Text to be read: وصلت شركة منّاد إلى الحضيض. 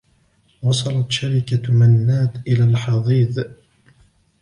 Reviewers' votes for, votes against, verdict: 1, 2, rejected